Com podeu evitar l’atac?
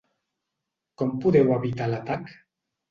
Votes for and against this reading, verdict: 2, 0, accepted